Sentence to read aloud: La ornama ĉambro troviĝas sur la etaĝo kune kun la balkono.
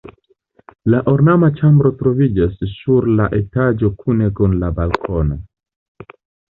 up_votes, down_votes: 1, 2